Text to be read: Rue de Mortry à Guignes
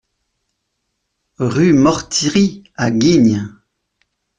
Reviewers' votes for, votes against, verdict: 0, 2, rejected